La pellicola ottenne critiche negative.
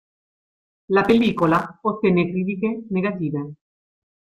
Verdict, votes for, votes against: rejected, 0, 2